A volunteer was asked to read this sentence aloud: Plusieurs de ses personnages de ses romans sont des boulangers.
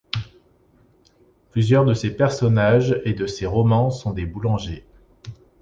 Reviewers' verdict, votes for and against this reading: rejected, 0, 2